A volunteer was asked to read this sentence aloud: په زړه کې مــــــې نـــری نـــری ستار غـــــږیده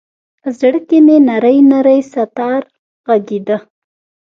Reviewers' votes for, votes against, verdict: 1, 2, rejected